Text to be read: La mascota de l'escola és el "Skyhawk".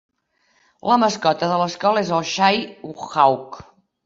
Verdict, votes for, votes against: accepted, 2, 0